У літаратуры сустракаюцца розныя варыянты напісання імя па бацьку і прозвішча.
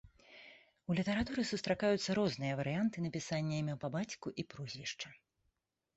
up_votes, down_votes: 2, 0